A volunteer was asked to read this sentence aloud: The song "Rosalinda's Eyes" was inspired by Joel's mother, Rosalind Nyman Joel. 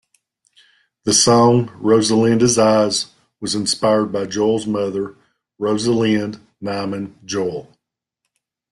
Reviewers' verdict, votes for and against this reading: accepted, 2, 0